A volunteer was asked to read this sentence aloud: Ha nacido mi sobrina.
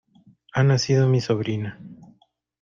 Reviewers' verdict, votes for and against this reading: accepted, 2, 0